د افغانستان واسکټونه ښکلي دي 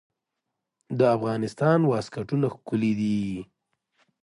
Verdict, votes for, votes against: accepted, 2, 0